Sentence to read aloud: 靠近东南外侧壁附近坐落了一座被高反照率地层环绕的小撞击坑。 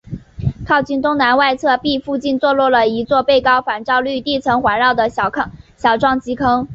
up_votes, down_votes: 2, 0